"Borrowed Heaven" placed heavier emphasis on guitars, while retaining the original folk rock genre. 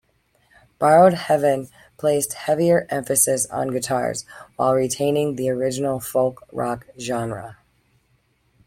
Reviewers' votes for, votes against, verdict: 0, 2, rejected